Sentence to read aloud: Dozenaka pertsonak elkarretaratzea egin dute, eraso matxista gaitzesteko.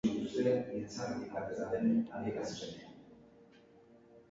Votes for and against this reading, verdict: 0, 3, rejected